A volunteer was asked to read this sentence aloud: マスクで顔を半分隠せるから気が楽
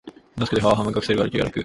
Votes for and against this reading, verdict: 0, 3, rejected